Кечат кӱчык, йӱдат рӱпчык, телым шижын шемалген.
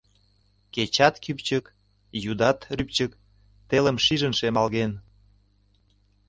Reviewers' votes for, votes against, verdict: 1, 2, rejected